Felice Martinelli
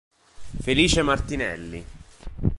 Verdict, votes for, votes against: accepted, 2, 0